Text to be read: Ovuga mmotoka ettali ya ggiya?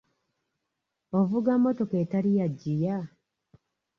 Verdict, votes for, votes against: accepted, 2, 0